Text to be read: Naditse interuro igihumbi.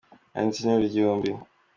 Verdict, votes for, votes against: accepted, 2, 1